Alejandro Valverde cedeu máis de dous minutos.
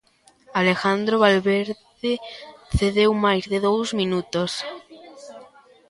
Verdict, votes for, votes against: accepted, 2, 0